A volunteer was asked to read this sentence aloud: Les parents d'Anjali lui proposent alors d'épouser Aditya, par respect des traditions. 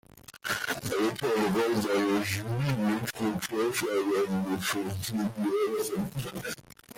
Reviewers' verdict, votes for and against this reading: rejected, 0, 2